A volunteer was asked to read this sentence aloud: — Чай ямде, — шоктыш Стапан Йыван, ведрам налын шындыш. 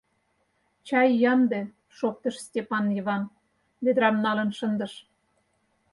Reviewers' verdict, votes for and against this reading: rejected, 0, 4